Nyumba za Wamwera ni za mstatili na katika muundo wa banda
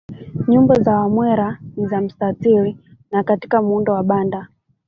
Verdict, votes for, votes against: rejected, 1, 2